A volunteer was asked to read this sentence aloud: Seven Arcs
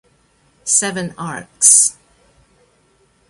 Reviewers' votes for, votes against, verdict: 2, 0, accepted